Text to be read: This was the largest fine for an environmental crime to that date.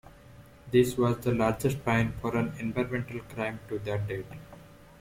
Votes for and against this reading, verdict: 2, 0, accepted